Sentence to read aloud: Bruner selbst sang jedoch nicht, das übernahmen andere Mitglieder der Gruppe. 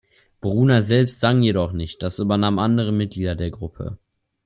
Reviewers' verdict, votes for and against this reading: accepted, 2, 0